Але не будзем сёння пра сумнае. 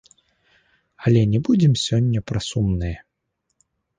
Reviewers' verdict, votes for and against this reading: accepted, 2, 0